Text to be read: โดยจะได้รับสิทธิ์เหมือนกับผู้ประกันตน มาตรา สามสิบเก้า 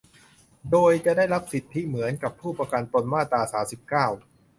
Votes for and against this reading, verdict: 0, 2, rejected